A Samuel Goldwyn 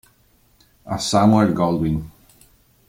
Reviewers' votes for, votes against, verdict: 2, 0, accepted